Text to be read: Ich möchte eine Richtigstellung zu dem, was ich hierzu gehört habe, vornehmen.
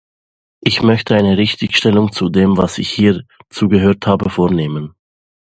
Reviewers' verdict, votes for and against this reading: accepted, 2, 0